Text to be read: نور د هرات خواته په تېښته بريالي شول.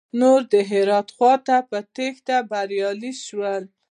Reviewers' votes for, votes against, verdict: 2, 0, accepted